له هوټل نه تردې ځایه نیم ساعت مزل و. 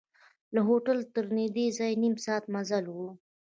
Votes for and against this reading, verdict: 1, 2, rejected